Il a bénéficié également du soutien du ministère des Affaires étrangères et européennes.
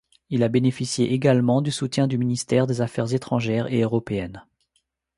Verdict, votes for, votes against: accepted, 2, 0